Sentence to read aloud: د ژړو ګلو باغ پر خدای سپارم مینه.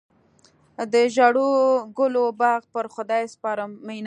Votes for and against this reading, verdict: 1, 2, rejected